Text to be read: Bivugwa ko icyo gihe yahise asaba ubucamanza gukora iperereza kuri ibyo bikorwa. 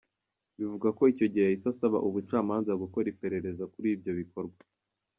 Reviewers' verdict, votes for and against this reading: rejected, 1, 2